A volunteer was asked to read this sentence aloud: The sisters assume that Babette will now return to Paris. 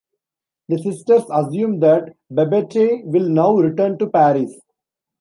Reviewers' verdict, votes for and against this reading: rejected, 0, 2